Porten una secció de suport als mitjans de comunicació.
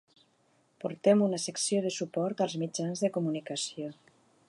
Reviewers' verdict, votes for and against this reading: rejected, 0, 2